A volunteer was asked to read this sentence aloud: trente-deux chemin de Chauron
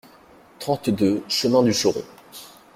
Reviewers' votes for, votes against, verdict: 0, 2, rejected